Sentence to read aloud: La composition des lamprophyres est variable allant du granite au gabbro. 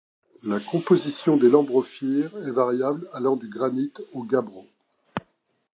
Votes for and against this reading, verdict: 1, 2, rejected